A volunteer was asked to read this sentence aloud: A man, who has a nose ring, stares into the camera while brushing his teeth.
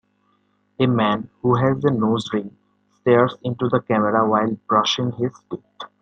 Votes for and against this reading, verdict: 1, 2, rejected